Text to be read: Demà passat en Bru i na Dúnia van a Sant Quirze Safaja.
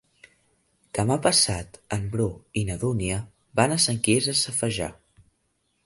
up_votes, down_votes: 0, 2